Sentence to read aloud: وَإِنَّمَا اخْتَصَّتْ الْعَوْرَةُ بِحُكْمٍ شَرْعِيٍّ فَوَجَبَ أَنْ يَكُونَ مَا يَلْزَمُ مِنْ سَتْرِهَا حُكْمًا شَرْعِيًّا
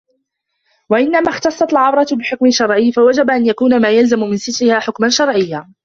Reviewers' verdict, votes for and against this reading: rejected, 1, 2